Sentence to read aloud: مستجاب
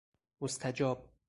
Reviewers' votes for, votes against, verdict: 2, 2, rejected